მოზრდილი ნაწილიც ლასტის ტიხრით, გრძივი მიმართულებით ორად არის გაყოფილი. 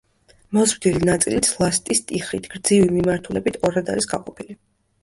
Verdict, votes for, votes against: rejected, 1, 2